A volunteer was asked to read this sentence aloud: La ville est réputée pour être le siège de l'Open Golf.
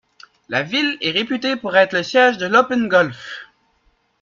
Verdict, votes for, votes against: rejected, 1, 2